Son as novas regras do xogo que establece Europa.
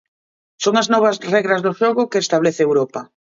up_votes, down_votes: 2, 1